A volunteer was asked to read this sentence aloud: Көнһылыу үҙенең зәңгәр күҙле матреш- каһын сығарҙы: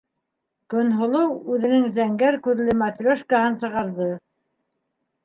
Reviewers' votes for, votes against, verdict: 2, 0, accepted